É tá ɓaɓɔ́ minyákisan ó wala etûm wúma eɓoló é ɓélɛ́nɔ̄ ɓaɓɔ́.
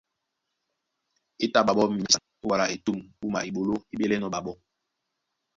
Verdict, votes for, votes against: rejected, 1, 2